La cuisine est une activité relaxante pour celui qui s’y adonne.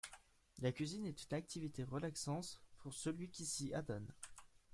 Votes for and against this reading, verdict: 2, 0, accepted